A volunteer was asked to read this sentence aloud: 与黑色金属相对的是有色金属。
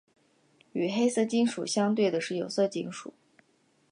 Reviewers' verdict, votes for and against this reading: accepted, 2, 0